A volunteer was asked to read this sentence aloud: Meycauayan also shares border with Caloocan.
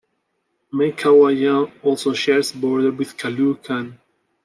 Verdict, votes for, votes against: rejected, 0, 2